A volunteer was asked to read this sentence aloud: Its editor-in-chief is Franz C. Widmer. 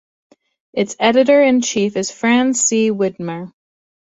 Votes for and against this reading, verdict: 2, 0, accepted